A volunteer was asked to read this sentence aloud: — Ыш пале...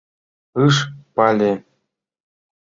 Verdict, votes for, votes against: rejected, 1, 2